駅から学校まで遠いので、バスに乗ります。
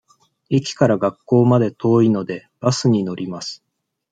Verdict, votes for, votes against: accepted, 2, 0